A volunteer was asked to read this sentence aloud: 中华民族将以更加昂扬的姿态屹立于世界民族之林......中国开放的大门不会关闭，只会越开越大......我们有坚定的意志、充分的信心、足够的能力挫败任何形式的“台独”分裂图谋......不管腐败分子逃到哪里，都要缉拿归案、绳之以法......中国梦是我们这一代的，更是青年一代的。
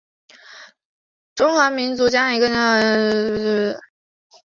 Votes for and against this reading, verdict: 0, 3, rejected